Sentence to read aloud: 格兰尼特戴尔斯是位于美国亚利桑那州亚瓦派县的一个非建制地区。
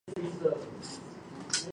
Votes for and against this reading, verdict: 0, 2, rejected